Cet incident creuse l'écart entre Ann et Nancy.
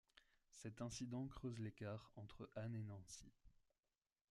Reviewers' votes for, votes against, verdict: 1, 2, rejected